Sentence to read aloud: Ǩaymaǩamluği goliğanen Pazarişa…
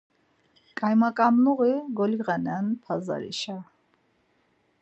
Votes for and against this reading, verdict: 4, 0, accepted